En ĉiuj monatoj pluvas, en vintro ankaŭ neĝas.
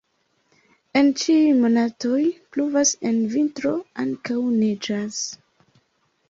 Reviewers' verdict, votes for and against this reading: rejected, 0, 2